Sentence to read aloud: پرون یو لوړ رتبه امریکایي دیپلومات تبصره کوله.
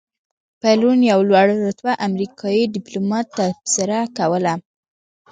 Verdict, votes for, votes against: accepted, 2, 0